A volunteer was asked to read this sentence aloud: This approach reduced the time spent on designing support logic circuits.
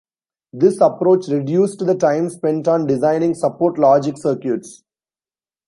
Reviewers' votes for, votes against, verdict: 2, 0, accepted